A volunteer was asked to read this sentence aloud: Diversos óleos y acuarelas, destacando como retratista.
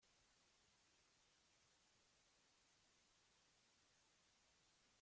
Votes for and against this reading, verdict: 0, 2, rejected